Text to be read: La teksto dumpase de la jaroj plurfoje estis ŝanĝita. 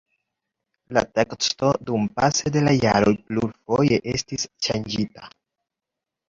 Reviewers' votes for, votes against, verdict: 1, 2, rejected